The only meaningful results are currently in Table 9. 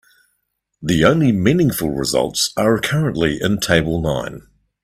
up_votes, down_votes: 0, 2